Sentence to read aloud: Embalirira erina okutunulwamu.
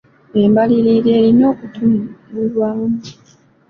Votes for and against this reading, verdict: 2, 0, accepted